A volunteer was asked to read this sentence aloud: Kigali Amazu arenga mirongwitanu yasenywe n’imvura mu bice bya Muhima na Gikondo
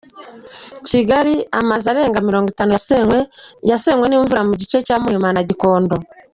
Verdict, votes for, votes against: rejected, 0, 2